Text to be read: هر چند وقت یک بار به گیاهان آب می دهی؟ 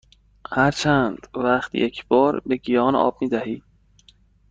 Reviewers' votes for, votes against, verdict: 1, 2, rejected